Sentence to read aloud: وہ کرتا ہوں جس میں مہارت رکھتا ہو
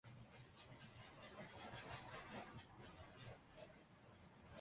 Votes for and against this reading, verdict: 0, 2, rejected